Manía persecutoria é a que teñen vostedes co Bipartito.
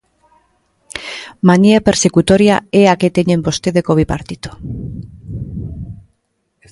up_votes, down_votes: 0, 2